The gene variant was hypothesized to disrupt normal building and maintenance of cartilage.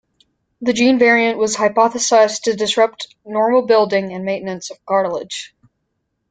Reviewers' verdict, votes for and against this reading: accepted, 2, 0